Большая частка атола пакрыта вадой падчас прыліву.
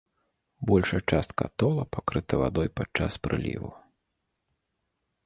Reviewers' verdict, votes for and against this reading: accepted, 2, 0